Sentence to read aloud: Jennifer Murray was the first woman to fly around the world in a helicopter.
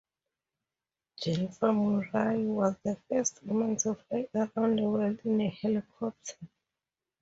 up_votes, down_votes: 4, 2